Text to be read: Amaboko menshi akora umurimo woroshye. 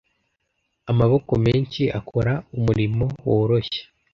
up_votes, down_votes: 2, 0